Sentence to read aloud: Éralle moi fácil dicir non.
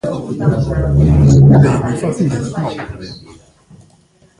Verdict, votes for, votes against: rejected, 0, 2